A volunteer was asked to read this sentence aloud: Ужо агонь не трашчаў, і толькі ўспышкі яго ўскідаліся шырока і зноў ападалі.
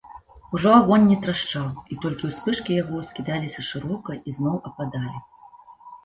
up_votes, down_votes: 2, 0